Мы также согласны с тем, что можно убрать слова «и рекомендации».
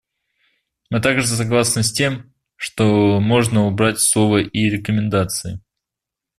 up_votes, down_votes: 1, 2